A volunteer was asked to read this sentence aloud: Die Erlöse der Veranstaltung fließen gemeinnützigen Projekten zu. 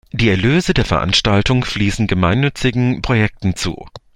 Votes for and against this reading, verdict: 2, 0, accepted